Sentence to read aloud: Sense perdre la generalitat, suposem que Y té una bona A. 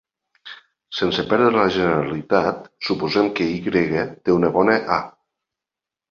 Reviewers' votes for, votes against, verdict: 2, 0, accepted